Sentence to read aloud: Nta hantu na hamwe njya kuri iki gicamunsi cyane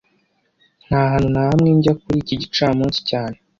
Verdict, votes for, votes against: accepted, 2, 0